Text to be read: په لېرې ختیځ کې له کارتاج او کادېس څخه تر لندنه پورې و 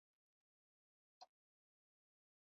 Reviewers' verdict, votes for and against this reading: rejected, 0, 2